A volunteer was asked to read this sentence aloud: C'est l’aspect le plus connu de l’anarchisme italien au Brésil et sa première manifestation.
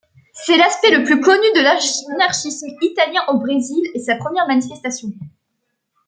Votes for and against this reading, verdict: 0, 2, rejected